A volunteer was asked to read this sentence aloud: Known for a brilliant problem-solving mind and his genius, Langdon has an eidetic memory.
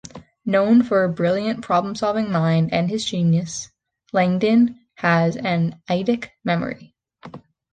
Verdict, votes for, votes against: rejected, 1, 2